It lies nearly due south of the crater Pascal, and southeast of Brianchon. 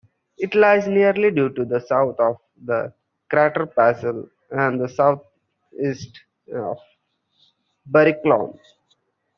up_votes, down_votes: 0, 2